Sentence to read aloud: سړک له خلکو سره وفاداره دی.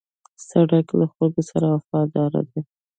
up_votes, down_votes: 2, 1